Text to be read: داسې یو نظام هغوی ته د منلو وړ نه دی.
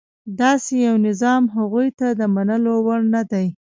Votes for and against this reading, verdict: 0, 2, rejected